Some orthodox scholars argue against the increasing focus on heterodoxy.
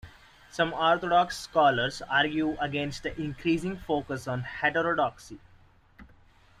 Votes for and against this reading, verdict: 2, 0, accepted